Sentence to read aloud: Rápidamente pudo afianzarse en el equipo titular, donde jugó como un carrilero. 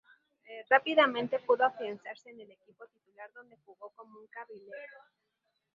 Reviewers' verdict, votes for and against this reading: rejected, 0, 2